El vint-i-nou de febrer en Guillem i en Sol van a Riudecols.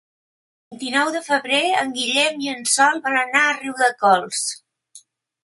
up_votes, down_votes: 1, 2